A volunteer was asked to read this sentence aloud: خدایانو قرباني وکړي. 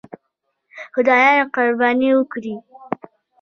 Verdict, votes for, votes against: accepted, 2, 1